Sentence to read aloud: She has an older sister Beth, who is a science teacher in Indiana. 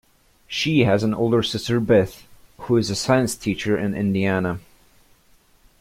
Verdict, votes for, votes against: accepted, 2, 0